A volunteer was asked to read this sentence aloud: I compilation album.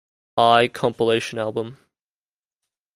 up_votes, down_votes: 2, 1